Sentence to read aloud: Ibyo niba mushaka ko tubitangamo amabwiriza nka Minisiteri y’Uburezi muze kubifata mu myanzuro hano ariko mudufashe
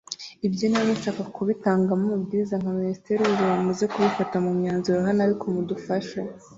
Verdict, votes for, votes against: rejected, 0, 2